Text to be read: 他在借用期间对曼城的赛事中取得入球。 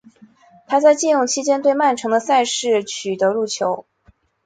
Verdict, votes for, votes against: accepted, 6, 1